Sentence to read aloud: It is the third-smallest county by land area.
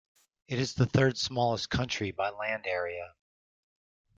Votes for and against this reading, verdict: 1, 2, rejected